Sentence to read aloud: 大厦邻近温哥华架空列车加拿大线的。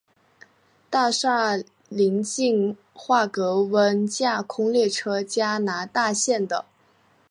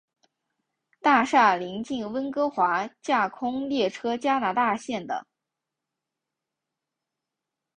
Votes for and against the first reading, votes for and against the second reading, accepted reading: 2, 4, 3, 0, second